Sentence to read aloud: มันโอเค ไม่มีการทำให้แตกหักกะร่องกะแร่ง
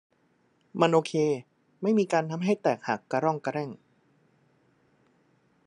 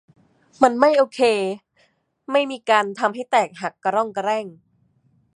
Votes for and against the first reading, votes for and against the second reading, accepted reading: 2, 0, 1, 2, first